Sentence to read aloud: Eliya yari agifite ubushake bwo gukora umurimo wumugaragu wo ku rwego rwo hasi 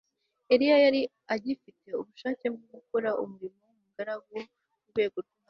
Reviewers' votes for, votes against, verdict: 0, 2, rejected